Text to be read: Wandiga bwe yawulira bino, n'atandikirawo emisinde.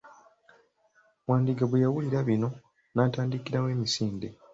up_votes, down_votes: 2, 0